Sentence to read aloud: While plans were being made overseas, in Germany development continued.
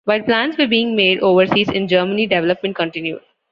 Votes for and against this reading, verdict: 2, 1, accepted